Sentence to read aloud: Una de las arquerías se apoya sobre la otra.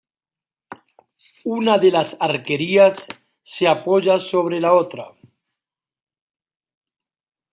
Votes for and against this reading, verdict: 2, 0, accepted